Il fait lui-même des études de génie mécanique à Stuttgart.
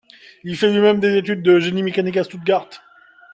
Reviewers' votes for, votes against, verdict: 2, 1, accepted